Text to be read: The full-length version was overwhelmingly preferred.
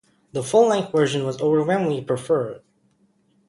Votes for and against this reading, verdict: 2, 0, accepted